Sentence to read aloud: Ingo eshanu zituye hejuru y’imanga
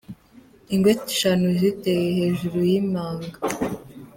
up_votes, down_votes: 0, 2